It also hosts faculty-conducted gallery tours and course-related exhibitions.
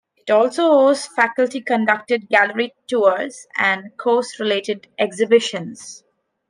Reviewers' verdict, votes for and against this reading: accepted, 2, 0